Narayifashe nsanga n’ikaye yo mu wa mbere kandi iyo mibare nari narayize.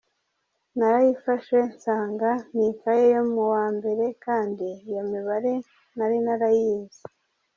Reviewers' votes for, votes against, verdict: 2, 0, accepted